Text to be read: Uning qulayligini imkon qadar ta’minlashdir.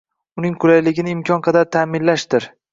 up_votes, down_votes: 2, 0